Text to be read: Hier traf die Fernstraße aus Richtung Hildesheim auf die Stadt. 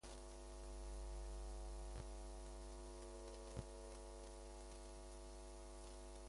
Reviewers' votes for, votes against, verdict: 0, 2, rejected